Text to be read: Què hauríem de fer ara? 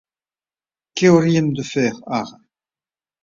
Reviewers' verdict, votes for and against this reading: rejected, 1, 2